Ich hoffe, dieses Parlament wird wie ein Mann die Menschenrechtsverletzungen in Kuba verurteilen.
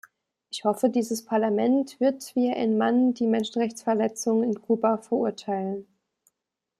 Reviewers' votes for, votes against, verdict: 2, 0, accepted